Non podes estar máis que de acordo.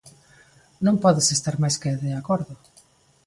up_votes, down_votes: 3, 0